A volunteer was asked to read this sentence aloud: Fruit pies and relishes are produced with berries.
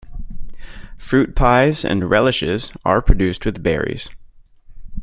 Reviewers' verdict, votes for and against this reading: accepted, 2, 0